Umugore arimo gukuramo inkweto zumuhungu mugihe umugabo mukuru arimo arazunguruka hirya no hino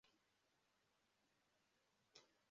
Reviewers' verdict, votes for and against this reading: rejected, 0, 2